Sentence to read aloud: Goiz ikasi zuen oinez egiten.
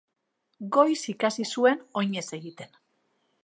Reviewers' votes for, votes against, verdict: 2, 0, accepted